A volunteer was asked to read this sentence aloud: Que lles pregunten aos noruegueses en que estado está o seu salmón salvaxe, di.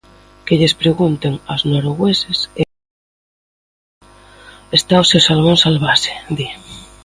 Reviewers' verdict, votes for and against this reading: rejected, 0, 2